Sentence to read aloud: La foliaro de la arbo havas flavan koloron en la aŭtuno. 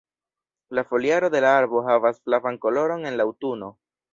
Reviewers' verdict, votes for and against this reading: rejected, 1, 2